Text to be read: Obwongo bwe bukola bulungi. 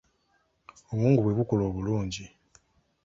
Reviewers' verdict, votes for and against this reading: rejected, 1, 2